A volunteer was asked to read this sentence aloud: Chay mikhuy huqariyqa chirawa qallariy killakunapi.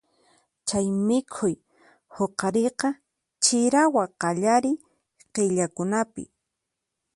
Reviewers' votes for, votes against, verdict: 4, 2, accepted